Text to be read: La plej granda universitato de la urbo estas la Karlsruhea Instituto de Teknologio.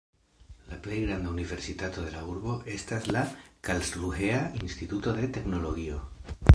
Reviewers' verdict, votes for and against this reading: accepted, 2, 0